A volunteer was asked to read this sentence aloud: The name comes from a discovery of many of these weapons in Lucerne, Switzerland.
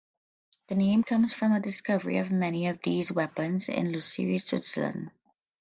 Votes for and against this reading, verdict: 2, 1, accepted